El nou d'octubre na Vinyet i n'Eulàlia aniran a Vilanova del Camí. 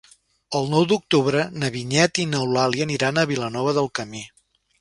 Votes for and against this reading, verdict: 1, 2, rejected